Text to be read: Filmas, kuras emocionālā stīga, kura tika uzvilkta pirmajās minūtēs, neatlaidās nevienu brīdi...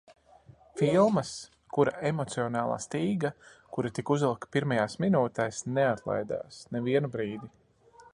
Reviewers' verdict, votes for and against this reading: rejected, 0, 2